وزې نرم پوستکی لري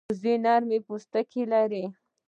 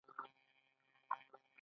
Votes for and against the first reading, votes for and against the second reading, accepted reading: 2, 0, 1, 2, first